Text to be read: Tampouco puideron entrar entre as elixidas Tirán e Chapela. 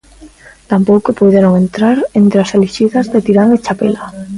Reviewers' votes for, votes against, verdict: 0, 2, rejected